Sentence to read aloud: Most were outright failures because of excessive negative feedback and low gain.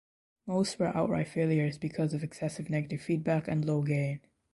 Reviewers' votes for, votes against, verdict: 2, 0, accepted